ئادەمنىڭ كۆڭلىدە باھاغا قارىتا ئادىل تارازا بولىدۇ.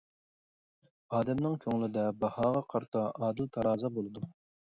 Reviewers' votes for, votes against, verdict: 2, 0, accepted